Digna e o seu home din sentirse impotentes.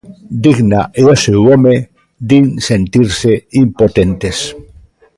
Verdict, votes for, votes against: rejected, 0, 2